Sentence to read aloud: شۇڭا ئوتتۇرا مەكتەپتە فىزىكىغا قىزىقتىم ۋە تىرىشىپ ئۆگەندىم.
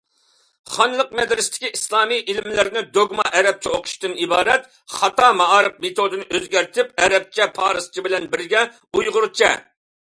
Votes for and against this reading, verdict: 0, 2, rejected